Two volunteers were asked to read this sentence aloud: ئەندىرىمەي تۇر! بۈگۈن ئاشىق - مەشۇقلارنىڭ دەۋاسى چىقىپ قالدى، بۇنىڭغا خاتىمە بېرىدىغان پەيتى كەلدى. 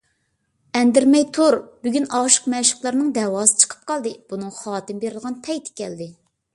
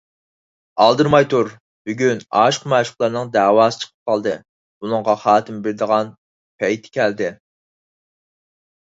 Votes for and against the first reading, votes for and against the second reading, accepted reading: 2, 0, 2, 4, first